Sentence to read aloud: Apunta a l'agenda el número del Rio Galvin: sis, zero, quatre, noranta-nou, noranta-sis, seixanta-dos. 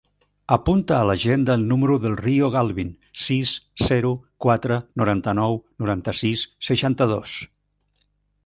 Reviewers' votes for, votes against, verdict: 3, 0, accepted